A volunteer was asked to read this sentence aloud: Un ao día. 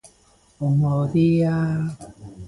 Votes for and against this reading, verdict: 0, 2, rejected